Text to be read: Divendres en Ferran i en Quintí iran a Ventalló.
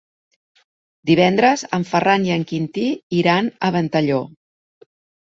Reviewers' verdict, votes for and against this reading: accepted, 3, 0